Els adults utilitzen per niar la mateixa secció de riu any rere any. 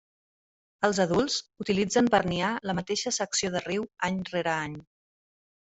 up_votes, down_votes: 3, 0